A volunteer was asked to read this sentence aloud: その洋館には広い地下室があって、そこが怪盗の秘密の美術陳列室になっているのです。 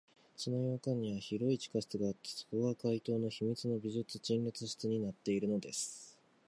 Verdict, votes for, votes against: rejected, 1, 2